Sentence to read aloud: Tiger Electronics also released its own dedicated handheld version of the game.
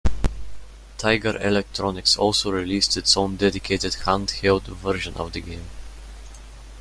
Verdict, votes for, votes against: accepted, 2, 0